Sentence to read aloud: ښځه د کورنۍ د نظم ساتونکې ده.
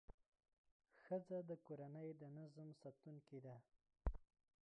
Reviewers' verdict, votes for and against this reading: rejected, 0, 2